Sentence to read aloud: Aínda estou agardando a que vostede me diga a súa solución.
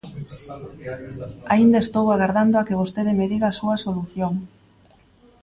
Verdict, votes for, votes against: rejected, 1, 2